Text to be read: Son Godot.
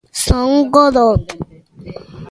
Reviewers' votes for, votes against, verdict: 0, 2, rejected